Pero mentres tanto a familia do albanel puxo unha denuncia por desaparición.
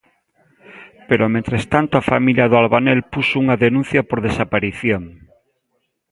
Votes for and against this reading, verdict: 2, 0, accepted